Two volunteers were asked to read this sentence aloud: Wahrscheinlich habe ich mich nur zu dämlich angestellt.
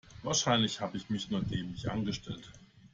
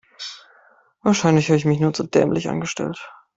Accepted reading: second